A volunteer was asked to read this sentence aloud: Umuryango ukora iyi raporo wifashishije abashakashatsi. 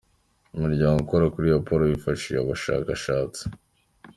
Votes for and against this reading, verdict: 2, 0, accepted